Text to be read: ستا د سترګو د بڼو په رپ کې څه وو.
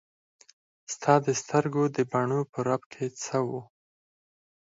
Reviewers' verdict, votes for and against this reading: accepted, 4, 2